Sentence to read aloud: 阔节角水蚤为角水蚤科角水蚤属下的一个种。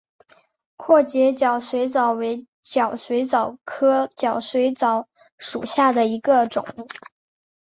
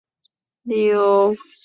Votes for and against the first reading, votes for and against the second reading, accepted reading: 9, 2, 0, 2, first